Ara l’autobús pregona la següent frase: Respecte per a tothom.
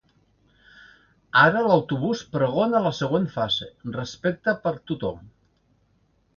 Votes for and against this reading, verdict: 0, 2, rejected